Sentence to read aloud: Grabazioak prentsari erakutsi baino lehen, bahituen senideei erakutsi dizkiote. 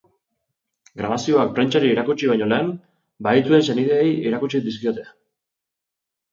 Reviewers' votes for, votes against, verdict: 0, 2, rejected